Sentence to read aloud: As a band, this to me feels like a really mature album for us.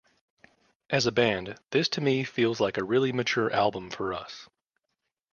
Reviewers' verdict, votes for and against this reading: accepted, 2, 0